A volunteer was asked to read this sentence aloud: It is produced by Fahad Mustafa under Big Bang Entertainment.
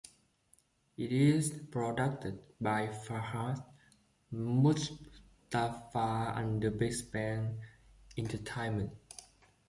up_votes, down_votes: 0, 2